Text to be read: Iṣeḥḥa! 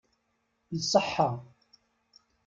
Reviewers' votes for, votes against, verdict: 2, 0, accepted